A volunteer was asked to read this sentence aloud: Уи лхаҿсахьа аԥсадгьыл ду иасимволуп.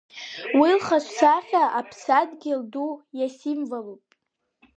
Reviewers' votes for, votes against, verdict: 1, 2, rejected